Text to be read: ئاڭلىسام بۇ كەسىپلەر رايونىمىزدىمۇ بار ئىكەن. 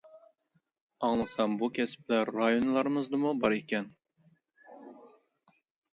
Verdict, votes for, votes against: rejected, 0, 2